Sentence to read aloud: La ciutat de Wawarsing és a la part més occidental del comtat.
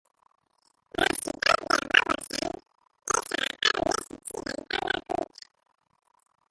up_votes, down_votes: 0, 2